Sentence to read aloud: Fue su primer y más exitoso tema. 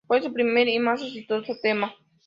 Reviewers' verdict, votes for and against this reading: accepted, 2, 0